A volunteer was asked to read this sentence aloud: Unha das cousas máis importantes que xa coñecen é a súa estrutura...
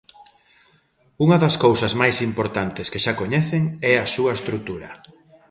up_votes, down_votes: 2, 0